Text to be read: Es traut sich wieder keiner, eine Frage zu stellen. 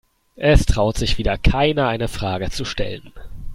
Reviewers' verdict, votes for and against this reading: accepted, 2, 0